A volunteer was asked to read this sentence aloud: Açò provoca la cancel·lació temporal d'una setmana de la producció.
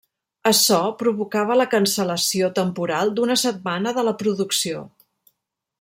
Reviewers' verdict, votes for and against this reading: rejected, 1, 2